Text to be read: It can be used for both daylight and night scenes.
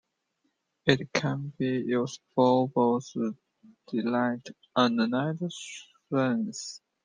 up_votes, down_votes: 2, 1